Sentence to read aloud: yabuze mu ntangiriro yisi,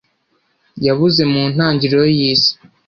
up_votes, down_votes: 1, 2